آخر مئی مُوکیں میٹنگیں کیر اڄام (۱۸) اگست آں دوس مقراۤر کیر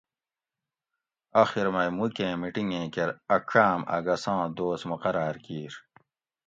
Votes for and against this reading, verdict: 0, 2, rejected